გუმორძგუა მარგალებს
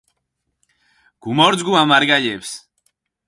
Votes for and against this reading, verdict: 2, 4, rejected